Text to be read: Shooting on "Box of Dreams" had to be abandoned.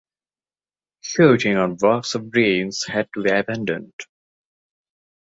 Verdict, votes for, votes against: accepted, 2, 0